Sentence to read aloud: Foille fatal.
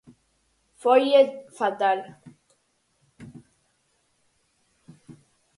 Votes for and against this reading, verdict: 4, 0, accepted